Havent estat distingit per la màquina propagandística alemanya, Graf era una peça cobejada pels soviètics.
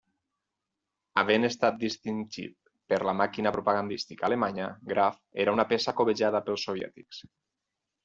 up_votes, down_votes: 4, 0